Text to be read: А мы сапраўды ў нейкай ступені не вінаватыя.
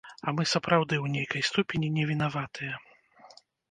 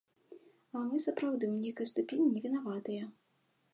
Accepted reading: second